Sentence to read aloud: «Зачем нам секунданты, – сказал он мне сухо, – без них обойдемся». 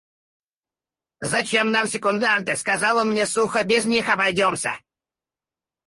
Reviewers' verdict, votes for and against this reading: rejected, 0, 4